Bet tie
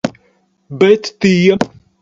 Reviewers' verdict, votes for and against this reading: accepted, 4, 0